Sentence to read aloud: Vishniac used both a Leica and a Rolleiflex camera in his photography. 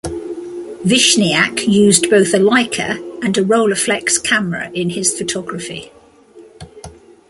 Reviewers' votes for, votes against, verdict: 2, 0, accepted